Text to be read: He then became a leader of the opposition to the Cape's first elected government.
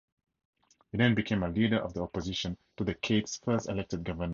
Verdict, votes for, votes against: accepted, 2, 0